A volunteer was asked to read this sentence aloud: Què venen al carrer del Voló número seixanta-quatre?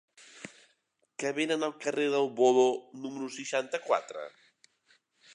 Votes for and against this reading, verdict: 1, 2, rejected